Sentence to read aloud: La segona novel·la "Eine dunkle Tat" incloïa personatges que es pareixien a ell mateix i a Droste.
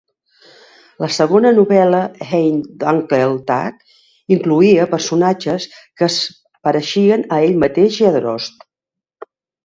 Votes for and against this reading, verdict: 1, 2, rejected